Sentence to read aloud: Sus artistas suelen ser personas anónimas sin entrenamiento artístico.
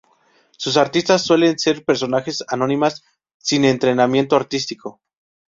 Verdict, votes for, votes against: rejected, 0, 2